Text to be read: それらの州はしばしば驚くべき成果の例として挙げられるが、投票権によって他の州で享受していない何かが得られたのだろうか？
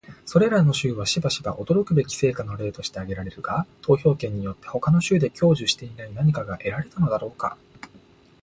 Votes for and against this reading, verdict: 2, 0, accepted